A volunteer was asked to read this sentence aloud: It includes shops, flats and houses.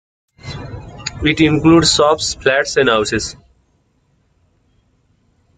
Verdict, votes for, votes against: accepted, 2, 0